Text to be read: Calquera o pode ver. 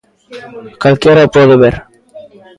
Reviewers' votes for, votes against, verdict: 1, 2, rejected